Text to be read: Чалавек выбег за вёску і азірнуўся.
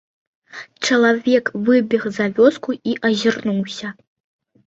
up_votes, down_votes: 2, 0